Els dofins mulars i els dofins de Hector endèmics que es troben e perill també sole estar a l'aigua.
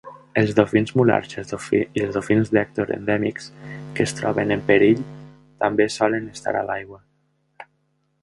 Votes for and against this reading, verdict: 0, 2, rejected